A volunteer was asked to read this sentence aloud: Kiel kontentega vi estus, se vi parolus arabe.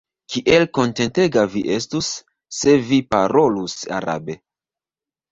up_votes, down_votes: 0, 2